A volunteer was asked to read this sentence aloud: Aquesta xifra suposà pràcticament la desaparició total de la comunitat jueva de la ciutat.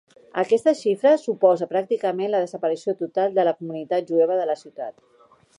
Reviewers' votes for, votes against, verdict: 0, 2, rejected